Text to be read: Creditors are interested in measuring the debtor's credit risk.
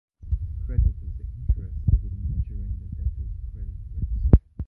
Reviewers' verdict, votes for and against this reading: rejected, 0, 2